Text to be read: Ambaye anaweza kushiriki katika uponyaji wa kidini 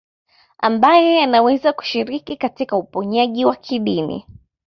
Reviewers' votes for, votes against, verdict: 2, 0, accepted